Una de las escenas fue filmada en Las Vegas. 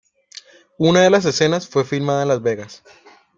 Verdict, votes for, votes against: accepted, 2, 0